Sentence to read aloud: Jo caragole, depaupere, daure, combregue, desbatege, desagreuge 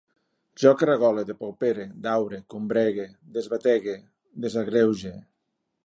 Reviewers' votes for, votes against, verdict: 2, 0, accepted